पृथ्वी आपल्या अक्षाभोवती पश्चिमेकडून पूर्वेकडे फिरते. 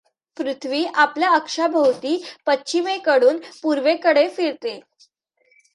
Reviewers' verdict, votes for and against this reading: accepted, 2, 0